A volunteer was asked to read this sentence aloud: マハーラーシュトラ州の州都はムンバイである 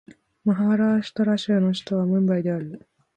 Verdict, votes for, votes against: rejected, 0, 2